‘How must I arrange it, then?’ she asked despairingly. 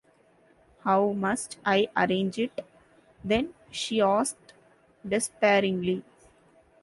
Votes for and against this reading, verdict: 2, 0, accepted